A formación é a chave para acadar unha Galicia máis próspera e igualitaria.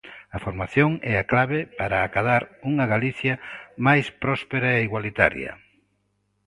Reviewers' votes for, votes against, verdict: 0, 2, rejected